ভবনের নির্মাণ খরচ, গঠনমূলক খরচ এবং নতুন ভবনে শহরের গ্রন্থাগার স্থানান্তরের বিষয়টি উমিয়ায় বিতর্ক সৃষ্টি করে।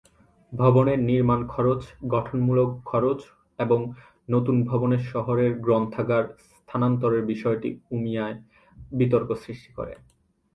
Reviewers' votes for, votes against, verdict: 4, 0, accepted